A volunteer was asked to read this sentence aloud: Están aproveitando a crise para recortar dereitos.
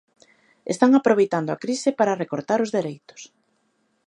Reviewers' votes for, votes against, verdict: 0, 2, rejected